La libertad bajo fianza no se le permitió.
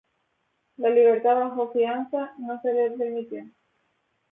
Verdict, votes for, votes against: accepted, 2, 0